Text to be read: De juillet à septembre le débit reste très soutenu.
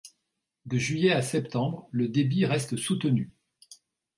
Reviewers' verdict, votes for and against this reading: rejected, 0, 2